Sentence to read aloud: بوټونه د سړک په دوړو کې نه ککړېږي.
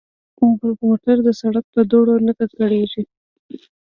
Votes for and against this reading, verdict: 1, 2, rejected